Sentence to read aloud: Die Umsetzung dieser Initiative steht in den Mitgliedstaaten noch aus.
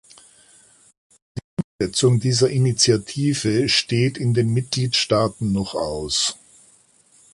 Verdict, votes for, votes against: rejected, 0, 2